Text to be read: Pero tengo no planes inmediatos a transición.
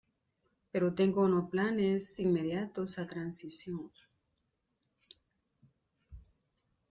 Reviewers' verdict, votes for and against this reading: accepted, 2, 1